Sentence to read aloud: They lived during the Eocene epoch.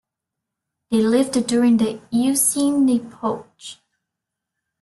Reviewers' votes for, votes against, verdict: 0, 2, rejected